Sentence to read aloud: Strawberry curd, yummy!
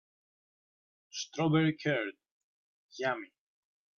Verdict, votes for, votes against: accepted, 2, 0